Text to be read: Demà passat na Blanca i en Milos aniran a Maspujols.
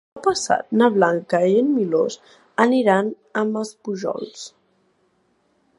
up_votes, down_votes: 0, 2